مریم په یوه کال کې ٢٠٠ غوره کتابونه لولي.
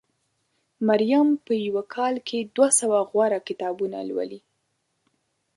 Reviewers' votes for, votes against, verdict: 0, 2, rejected